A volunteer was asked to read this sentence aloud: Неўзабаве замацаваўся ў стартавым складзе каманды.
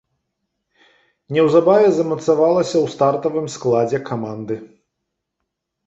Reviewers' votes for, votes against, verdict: 1, 3, rejected